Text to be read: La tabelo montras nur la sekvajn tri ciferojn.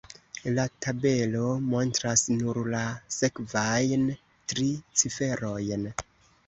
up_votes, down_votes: 2, 0